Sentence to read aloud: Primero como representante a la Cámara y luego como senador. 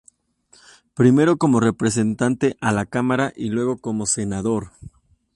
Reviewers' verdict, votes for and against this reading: rejected, 0, 2